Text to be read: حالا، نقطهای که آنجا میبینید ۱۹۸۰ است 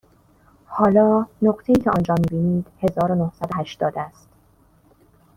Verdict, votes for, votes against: rejected, 0, 2